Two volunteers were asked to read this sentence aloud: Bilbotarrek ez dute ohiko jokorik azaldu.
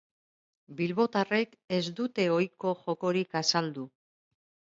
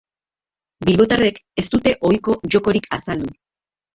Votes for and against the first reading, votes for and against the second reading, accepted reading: 3, 0, 2, 2, first